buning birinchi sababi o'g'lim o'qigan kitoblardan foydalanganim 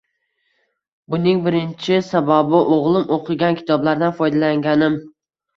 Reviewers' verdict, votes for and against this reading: rejected, 1, 2